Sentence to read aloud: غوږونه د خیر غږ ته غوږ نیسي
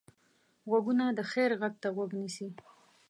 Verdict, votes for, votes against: accepted, 2, 0